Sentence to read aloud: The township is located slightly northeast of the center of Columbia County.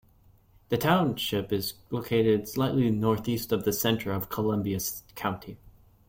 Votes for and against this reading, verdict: 1, 2, rejected